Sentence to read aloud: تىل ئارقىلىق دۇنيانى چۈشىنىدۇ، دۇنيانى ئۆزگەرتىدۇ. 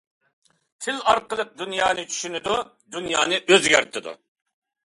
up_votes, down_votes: 2, 0